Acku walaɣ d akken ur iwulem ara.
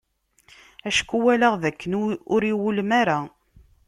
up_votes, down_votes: 0, 2